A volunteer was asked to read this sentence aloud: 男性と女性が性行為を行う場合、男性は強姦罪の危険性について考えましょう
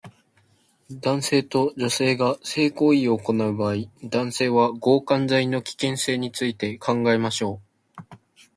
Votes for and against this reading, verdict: 2, 0, accepted